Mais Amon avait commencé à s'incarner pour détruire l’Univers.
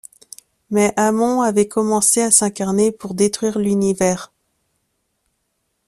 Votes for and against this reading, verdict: 2, 0, accepted